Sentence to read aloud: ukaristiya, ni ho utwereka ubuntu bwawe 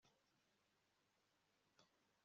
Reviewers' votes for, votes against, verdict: 0, 2, rejected